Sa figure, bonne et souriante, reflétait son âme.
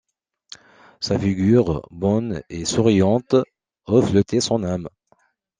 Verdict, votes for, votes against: accepted, 2, 0